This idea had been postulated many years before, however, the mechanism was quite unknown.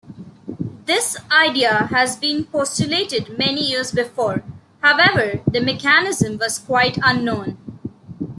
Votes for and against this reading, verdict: 0, 2, rejected